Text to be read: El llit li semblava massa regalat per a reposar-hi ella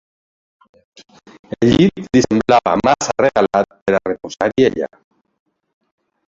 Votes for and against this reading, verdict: 0, 3, rejected